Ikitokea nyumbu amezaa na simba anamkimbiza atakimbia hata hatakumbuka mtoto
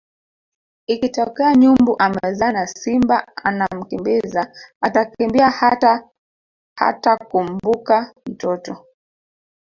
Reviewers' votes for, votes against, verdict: 0, 2, rejected